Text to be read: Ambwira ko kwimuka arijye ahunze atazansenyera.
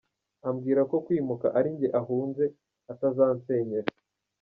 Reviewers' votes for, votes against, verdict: 1, 2, rejected